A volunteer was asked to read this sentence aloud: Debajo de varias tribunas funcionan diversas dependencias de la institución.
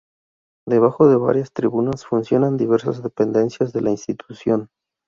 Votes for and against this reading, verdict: 2, 0, accepted